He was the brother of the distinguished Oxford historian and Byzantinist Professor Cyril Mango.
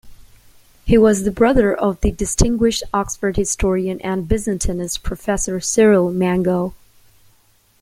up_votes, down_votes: 2, 0